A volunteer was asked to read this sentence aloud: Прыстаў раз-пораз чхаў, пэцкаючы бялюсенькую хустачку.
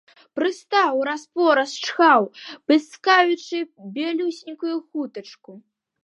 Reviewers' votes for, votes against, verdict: 0, 2, rejected